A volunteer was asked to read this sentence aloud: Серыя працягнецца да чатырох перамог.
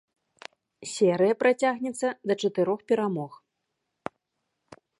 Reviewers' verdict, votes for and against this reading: accepted, 2, 0